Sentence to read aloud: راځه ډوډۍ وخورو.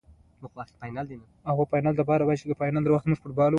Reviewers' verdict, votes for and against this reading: accepted, 2, 1